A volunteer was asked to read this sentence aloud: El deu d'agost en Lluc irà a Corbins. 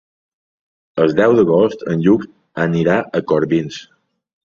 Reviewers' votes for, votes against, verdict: 0, 2, rejected